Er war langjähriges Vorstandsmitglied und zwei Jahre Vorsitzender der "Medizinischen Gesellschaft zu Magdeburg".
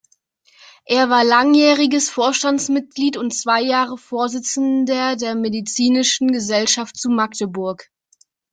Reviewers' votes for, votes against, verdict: 0, 2, rejected